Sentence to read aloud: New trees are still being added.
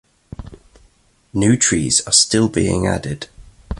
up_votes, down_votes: 2, 0